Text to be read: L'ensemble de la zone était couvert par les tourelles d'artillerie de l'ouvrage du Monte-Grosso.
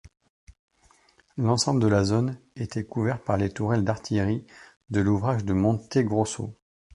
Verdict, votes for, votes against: accepted, 2, 0